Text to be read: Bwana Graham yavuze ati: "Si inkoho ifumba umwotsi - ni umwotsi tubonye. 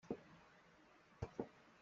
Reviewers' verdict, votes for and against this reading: rejected, 0, 2